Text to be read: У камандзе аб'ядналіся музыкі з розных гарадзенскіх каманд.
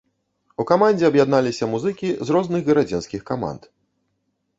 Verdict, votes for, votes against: accepted, 2, 0